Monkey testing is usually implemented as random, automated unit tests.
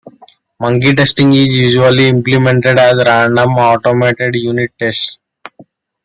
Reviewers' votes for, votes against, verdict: 2, 0, accepted